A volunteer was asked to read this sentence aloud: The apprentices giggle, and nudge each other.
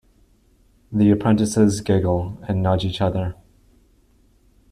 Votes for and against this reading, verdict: 2, 1, accepted